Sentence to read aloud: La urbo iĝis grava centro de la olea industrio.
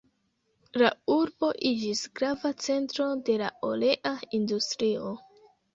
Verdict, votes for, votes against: accepted, 2, 0